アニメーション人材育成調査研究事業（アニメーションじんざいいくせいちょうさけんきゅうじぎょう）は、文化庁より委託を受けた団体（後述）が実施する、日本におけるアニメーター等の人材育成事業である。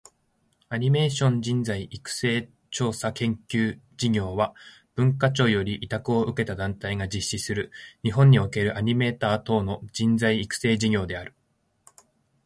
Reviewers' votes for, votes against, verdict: 2, 0, accepted